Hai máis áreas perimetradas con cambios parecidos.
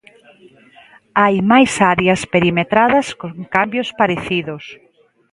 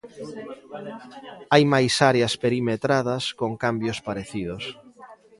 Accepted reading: first